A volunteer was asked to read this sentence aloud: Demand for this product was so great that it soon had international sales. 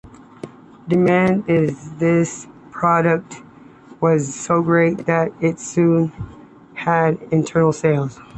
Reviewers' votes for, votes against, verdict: 2, 0, accepted